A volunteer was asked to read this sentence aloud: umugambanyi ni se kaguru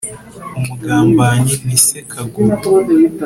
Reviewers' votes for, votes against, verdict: 2, 0, accepted